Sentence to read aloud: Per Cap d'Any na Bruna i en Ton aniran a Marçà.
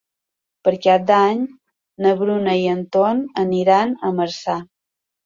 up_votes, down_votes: 3, 0